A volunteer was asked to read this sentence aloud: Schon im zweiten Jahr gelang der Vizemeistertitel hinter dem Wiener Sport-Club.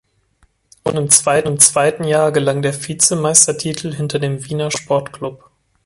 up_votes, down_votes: 0, 3